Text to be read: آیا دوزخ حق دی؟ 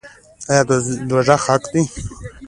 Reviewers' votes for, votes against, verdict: 2, 0, accepted